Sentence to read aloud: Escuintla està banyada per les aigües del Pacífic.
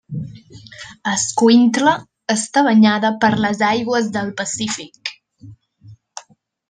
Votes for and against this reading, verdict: 3, 0, accepted